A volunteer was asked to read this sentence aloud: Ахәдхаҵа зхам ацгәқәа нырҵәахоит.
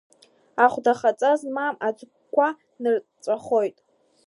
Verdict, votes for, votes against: rejected, 0, 2